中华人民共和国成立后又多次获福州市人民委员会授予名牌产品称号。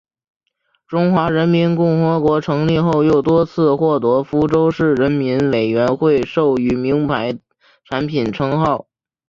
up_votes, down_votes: 3, 2